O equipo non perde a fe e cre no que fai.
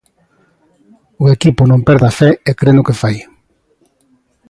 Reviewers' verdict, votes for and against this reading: accepted, 2, 0